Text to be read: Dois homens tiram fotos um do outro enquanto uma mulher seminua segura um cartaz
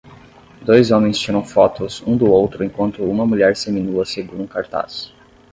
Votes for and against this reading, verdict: 6, 0, accepted